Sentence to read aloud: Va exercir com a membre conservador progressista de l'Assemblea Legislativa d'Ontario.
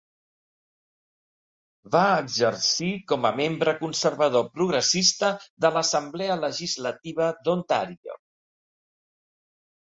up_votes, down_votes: 2, 0